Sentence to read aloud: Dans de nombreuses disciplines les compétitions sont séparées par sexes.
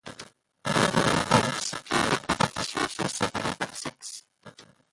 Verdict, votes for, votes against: rejected, 0, 2